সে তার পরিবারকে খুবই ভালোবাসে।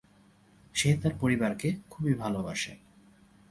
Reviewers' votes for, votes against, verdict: 8, 0, accepted